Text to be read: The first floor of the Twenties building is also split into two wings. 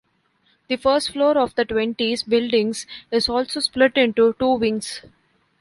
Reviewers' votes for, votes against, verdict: 0, 2, rejected